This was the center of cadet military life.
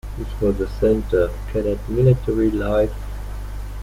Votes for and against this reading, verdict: 2, 0, accepted